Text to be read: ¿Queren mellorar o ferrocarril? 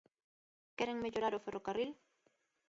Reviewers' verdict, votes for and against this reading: accepted, 2, 1